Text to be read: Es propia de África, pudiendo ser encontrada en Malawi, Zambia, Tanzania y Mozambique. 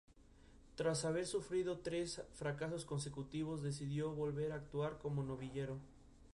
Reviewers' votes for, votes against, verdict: 0, 2, rejected